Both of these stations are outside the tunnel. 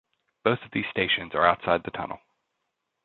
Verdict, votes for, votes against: accepted, 2, 0